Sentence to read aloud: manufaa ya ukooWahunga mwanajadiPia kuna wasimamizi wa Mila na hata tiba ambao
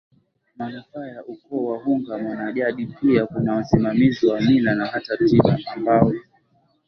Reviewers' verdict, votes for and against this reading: accepted, 2, 0